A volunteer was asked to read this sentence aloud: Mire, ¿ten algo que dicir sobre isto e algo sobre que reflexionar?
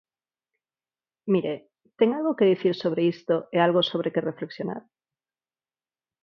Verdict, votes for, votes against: accepted, 4, 0